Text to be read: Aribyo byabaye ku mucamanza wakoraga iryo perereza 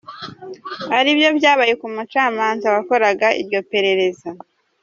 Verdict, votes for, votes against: rejected, 1, 2